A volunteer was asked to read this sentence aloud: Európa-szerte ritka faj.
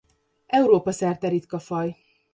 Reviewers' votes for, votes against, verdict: 2, 0, accepted